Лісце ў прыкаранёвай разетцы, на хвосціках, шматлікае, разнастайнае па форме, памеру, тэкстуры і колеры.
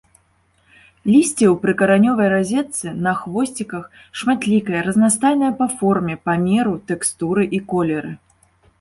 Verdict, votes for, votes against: accepted, 2, 0